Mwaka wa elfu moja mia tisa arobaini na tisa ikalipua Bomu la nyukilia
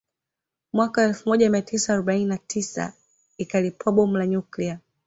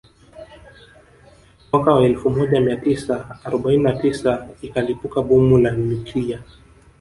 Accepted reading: first